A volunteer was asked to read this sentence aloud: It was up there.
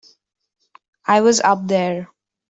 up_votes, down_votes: 0, 2